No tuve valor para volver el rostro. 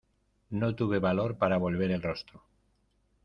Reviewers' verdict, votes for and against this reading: accepted, 2, 0